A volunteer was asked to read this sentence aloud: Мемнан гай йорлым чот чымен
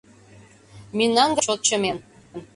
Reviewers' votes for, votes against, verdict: 0, 2, rejected